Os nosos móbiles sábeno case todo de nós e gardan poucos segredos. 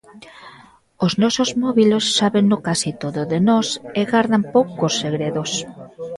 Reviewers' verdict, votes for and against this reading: rejected, 0, 2